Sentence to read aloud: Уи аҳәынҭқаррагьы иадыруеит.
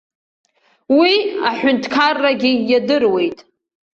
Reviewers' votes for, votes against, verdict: 2, 0, accepted